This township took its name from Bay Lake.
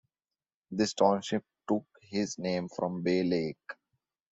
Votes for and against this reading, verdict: 2, 1, accepted